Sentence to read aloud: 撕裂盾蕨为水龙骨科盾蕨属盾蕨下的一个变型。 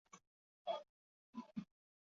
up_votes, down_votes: 0, 4